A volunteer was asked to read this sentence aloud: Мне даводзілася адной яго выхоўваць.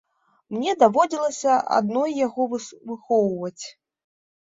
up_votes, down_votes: 1, 2